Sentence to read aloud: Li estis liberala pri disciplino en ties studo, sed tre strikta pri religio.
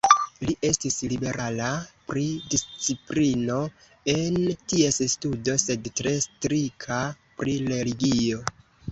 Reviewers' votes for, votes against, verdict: 0, 2, rejected